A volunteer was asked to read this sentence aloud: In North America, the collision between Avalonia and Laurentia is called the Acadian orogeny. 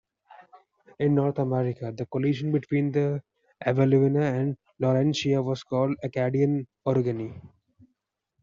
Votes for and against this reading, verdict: 1, 2, rejected